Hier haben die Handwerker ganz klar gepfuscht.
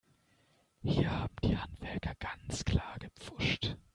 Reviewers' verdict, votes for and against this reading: rejected, 1, 2